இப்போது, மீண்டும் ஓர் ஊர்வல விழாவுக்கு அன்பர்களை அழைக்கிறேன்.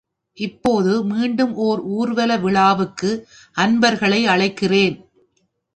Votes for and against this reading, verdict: 2, 0, accepted